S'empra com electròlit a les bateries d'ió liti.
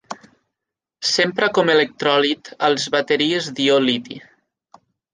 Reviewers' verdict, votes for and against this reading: rejected, 1, 2